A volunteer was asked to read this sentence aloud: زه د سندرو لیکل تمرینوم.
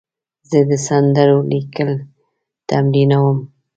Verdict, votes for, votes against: accepted, 2, 0